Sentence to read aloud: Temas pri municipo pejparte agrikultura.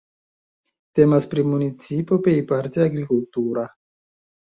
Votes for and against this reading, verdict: 1, 2, rejected